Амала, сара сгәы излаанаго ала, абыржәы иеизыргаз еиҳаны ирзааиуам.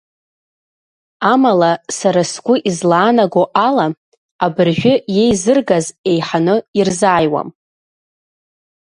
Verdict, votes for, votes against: accepted, 2, 0